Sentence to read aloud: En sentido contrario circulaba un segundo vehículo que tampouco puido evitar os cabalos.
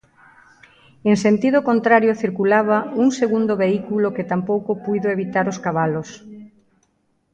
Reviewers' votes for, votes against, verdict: 1, 2, rejected